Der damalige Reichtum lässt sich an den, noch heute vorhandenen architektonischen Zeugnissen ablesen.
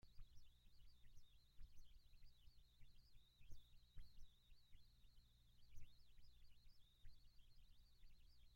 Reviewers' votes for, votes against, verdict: 0, 2, rejected